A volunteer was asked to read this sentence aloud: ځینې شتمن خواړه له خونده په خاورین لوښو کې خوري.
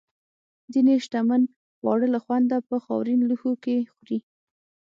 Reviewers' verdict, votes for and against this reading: accepted, 6, 0